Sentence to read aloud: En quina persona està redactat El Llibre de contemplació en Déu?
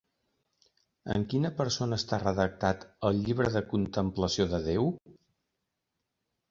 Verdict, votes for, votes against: rejected, 0, 2